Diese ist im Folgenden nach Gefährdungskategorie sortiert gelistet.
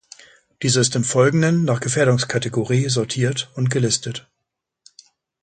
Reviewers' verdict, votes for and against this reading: rejected, 1, 2